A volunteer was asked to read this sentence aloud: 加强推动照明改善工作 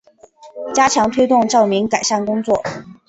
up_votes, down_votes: 2, 0